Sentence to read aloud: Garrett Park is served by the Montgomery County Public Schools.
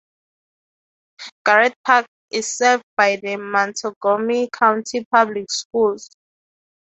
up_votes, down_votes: 0, 3